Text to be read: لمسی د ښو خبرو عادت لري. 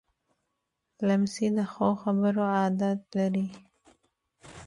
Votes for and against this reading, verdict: 2, 1, accepted